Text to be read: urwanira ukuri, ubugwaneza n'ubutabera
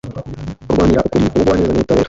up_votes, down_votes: 1, 2